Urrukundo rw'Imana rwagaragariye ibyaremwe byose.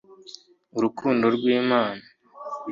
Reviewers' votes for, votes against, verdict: 0, 2, rejected